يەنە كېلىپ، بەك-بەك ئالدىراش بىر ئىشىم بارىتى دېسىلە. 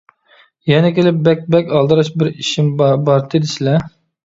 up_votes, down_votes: 1, 2